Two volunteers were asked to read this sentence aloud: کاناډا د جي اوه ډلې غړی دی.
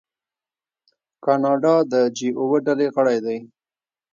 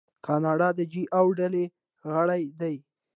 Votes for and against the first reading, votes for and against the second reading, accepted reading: 0, 2, 2, 0, second